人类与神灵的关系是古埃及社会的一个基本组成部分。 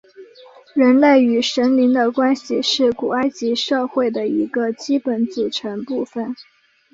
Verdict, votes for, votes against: accepted, 2, 0